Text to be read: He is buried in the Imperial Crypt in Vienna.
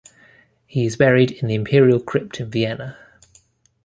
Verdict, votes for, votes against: accepted, 2, 0